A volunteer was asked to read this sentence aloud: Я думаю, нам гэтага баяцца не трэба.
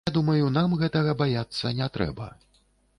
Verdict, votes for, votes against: rejected, 0, 2